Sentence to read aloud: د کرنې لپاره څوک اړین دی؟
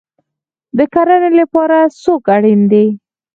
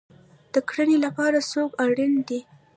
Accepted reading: first